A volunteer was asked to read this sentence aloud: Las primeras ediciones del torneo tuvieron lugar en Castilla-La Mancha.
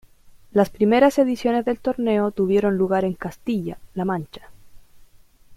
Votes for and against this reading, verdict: 1, 2, rejected